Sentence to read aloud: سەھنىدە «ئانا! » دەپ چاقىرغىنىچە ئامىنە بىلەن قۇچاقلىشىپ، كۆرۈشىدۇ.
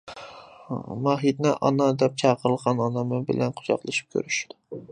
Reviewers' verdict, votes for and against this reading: rejected, 0, 2